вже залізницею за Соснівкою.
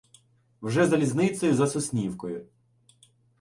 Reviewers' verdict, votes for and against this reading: accepted, 2, 0